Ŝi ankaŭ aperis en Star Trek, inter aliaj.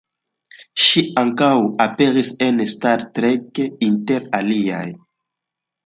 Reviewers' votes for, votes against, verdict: 2, 0, accepted